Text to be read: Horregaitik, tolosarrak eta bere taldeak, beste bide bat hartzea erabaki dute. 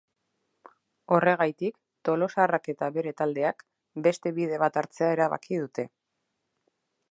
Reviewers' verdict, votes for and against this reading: accepted, 2, 0